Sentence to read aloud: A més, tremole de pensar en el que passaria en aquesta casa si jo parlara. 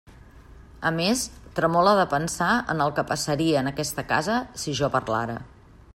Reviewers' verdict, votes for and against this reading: accepted, 2, 0